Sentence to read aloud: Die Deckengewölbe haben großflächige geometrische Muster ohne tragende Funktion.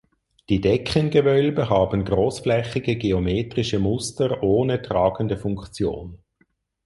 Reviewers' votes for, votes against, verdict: 4, 0, accepted